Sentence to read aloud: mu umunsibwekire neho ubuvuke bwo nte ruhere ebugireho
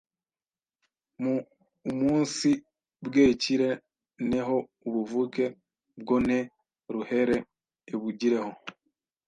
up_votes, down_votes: 1, 2